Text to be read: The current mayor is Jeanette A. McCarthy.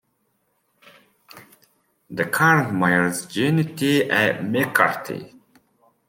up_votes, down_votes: 0, 2